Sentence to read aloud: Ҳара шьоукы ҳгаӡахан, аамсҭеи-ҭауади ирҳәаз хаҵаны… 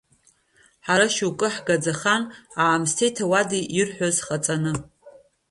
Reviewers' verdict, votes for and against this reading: rejected, 1, 2